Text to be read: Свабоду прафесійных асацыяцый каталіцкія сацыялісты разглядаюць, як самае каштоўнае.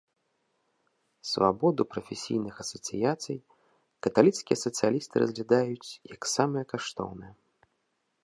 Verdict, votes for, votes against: accepted, 2, 0